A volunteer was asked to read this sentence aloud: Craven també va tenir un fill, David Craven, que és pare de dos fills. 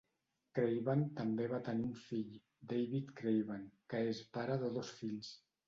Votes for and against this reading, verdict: 1, 2, rejected